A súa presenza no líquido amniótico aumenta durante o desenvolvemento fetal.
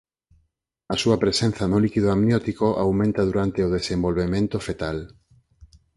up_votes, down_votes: 4, 0